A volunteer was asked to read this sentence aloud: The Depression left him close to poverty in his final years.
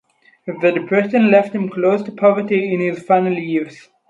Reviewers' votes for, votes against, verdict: 2, 2, rejected